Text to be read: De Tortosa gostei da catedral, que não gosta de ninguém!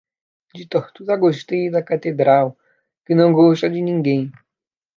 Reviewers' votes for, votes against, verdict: 1, 2, rejected